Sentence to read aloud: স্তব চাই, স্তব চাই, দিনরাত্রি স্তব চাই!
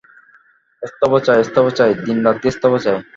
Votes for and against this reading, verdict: 0, 2, rejected